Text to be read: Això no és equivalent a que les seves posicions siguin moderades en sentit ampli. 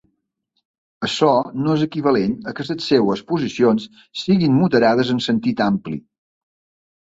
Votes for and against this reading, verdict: 1, 2, rejected